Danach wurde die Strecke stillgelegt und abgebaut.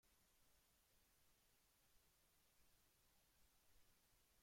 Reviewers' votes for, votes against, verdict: 0, 2, rejected